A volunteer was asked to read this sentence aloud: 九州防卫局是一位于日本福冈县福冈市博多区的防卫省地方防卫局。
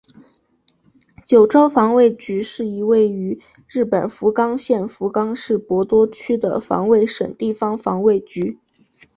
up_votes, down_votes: 2, 1